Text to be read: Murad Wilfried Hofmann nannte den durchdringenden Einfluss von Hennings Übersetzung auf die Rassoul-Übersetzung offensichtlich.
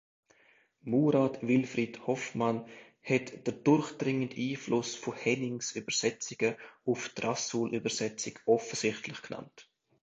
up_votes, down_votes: 0, 2